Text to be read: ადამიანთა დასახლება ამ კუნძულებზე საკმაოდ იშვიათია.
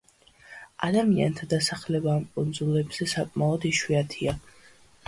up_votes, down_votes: 2, 1